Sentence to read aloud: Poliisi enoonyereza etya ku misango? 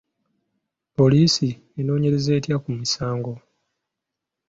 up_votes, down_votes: 2, 0